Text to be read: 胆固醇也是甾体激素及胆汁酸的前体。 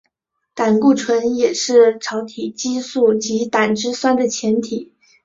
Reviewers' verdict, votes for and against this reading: rejected, 0, 2